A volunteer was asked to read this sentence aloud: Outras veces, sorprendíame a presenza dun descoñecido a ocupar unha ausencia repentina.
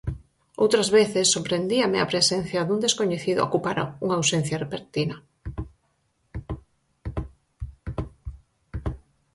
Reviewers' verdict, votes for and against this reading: rejected, 0, 4